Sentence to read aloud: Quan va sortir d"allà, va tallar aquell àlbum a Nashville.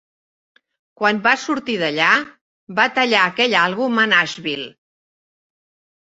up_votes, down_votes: 2, 0